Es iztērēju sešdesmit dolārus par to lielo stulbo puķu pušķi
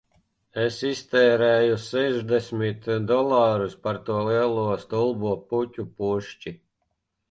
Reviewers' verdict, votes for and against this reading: rejected, 1, 2